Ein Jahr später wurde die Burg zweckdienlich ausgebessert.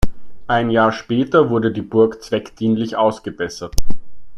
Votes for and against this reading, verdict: 2, 0, accepted